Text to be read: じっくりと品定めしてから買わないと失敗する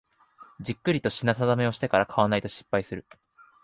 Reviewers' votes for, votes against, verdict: 1, 2, rejected